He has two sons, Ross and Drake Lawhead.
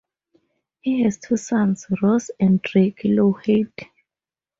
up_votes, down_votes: 4, 0